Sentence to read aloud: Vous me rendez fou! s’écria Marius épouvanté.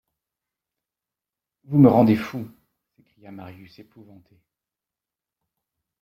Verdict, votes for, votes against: rejected, 0, 2